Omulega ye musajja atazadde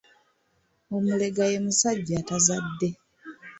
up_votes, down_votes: 2, 0